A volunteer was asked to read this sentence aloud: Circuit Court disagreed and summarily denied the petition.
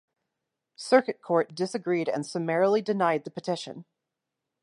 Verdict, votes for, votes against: rejected, 0, 2